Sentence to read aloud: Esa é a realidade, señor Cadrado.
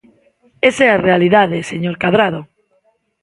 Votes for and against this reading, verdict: 2, 0, accepted